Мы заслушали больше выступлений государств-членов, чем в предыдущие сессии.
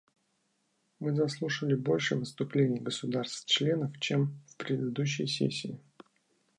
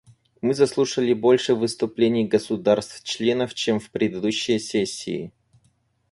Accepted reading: first